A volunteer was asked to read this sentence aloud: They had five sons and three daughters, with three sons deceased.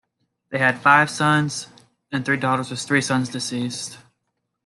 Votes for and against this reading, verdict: 2, 1, accepted